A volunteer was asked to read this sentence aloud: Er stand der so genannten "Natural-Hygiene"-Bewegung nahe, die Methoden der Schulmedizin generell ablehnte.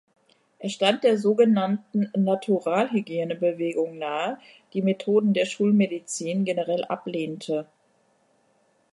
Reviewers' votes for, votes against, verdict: 2, 0, accepted